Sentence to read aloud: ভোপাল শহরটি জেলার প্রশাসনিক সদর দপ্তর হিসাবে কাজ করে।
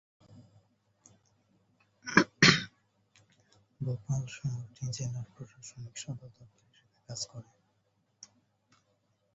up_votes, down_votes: 0, 4